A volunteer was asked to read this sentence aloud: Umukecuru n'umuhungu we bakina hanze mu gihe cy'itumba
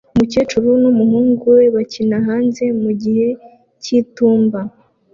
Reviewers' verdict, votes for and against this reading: accepted, 2, 1